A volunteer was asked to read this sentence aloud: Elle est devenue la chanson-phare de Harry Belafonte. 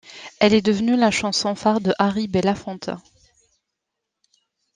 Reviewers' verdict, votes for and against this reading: accepted, 2, 0